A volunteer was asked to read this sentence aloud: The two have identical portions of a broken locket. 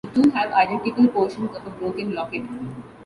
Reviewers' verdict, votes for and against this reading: rejected, 1, 2